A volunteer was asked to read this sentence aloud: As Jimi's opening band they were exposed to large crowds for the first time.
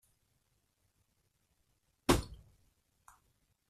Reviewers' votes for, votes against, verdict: 0, 3, rejected